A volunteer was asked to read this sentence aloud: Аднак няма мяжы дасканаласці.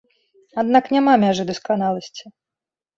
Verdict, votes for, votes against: accepted, 2, 0